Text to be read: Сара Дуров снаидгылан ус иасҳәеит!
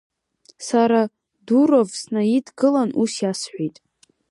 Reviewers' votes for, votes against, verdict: 3, 0, accepted